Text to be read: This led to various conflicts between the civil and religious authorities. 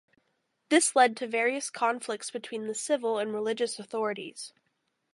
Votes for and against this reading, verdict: 2, 2, rejected